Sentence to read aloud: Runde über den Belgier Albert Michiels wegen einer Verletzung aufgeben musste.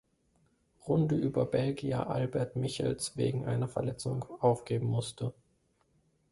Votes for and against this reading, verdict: 0, 2, rejected